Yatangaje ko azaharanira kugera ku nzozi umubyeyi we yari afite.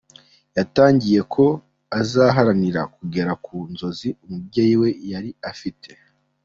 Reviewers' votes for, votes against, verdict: 1, 2, rejected